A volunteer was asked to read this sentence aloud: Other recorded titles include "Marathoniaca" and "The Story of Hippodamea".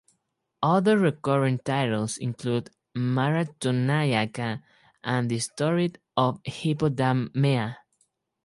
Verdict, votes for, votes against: rejected, 0, 4